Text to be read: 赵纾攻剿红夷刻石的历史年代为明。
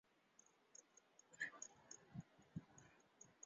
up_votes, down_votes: 1, 2